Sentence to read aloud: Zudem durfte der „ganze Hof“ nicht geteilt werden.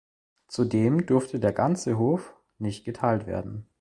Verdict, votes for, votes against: accepted, 2, 0